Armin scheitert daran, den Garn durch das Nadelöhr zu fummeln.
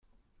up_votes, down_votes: 0, 2